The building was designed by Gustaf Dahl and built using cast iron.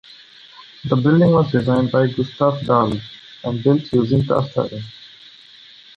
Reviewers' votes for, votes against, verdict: 1, 2, rejected